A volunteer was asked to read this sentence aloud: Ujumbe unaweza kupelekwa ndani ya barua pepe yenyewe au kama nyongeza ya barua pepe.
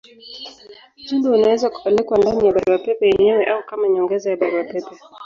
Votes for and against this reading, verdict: 2, 0, accepted